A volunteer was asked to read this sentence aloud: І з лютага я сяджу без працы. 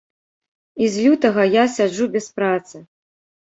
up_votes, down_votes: 1, 2